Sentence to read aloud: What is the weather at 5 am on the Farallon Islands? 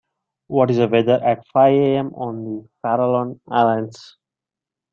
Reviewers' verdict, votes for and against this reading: rejected, 0, 2